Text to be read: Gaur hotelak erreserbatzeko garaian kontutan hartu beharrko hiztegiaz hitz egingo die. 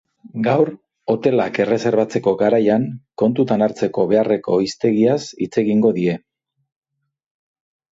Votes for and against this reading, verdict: 1, 3, rejected